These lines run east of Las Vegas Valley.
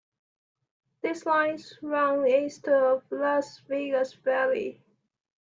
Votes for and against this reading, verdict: 2, 1, accepted